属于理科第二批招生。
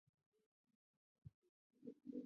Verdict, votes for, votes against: rejected, 3, 5